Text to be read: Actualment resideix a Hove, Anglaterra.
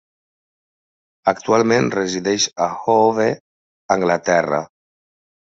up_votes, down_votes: 1, 2